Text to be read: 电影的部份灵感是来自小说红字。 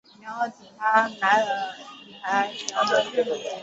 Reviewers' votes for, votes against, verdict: 0, 2, rejected